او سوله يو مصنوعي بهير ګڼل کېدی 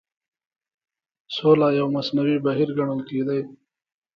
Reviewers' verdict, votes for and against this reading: accepted, 2, 0